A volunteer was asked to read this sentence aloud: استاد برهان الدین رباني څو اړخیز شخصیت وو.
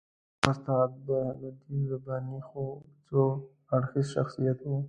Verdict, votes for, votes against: rejected, 1, 2